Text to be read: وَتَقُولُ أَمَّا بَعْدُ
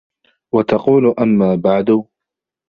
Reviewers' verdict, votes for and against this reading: rejected, 1, 2